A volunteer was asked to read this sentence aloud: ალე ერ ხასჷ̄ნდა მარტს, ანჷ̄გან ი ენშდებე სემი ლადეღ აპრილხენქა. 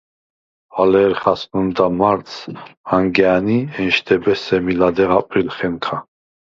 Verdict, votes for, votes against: rejected, 0, 4